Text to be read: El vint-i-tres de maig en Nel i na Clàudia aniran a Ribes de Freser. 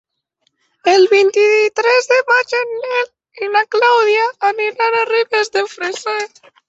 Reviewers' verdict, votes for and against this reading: accepted, 4, 2